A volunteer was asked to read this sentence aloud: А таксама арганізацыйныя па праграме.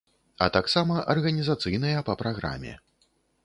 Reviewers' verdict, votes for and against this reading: accepted, 4, 0